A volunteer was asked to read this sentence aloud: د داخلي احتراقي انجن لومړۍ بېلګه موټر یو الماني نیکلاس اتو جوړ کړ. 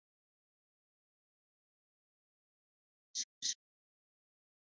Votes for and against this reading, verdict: 0, 2, rejected